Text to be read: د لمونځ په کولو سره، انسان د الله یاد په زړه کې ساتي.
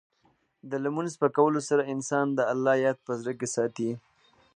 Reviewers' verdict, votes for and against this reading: accepted, 2, 0